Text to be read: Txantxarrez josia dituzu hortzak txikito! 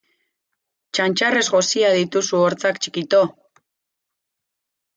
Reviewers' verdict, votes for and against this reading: accepted, 4, 0